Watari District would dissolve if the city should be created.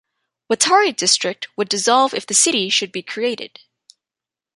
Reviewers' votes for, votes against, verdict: 2, 0, accepted